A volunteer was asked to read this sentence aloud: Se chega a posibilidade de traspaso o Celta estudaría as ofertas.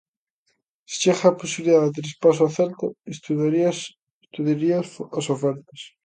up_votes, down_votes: 0, 2